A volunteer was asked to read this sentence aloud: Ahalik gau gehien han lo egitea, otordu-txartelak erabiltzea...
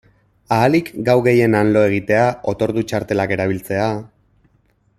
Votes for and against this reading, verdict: 2, 0, accepted